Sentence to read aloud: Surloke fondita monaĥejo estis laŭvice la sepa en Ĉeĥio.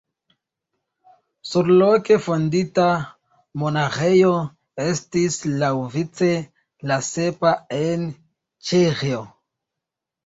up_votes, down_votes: 1, 3